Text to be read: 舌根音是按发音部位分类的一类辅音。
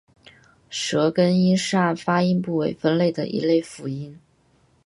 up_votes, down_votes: 2, 0